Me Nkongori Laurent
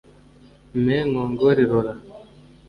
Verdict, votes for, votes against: rejected, 1, 2